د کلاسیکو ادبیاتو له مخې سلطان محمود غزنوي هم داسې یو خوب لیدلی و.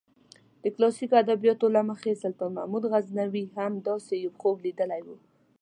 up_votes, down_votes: 2, 0